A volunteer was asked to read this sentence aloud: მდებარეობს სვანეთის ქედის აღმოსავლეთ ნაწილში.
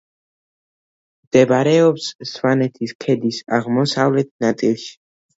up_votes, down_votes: 2, 0